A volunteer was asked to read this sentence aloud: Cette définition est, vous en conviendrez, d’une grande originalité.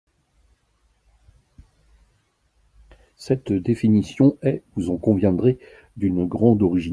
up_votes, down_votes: 0, 2